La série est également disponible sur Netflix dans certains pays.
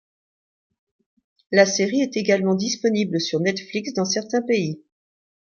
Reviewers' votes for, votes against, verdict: 2, 1, accepted